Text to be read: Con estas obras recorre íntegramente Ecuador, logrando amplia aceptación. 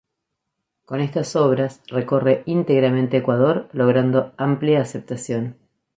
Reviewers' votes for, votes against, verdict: 2, 0, accepted